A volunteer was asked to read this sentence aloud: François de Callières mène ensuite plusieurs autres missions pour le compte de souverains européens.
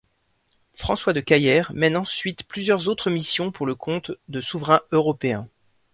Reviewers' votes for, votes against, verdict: 1, 2, rejected